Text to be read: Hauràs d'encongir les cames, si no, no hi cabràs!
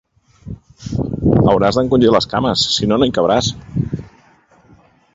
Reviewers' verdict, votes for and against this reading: accepted, 3, 0